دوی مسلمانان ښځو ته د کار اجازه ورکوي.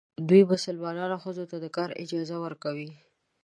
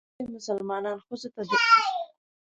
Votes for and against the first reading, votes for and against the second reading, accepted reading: 2, 0, 0, 2, first